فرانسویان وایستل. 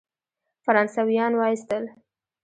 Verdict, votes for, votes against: accepted, 2, 0